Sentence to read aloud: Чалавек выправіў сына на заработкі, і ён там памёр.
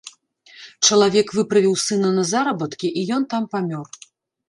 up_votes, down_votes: 1, 2